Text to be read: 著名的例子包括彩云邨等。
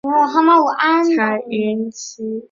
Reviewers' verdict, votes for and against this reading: rejected, 0, 2